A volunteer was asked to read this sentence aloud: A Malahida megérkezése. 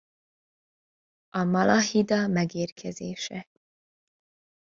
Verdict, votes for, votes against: accepted, 2, 0